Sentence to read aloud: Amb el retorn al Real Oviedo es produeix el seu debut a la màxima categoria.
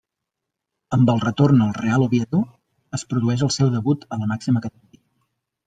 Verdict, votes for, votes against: rejected, 0, 2